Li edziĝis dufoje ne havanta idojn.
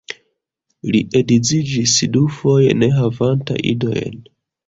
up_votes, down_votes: 1, 2